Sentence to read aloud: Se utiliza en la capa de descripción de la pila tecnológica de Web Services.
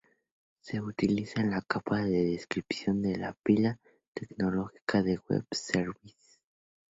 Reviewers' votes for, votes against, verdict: 2, 0, accepted